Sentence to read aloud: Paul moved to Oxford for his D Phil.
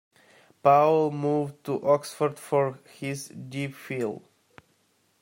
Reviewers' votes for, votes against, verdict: 0, 2, rejected